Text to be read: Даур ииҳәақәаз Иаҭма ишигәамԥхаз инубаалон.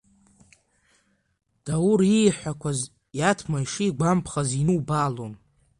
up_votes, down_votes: 2, 0